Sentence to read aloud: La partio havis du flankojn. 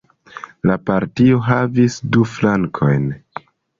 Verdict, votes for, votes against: accepted, 2, 0